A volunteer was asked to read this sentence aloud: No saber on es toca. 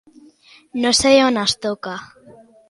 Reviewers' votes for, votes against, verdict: 2, 1, accepted